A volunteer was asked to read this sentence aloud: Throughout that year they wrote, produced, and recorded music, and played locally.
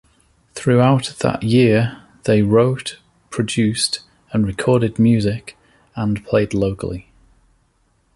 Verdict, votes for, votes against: accepted, 2, 0